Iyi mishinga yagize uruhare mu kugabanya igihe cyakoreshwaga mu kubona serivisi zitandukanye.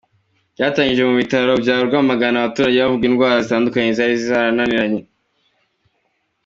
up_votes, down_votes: 0, 2